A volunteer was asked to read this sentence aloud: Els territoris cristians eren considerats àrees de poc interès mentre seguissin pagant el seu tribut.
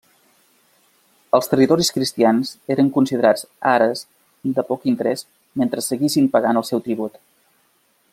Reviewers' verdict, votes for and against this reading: rejected, 0, 2